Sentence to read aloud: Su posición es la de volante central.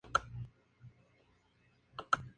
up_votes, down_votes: 0, 2